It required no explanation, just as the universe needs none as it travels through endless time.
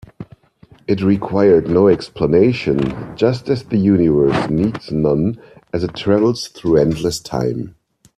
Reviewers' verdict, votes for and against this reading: accepted, 2, 0